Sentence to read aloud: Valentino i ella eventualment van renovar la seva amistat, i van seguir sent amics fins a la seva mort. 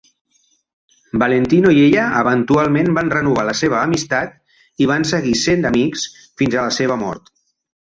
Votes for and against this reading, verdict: 2, 0, accepted